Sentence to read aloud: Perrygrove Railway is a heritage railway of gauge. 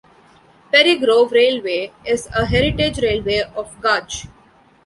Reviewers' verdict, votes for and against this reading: rejected, 0, 2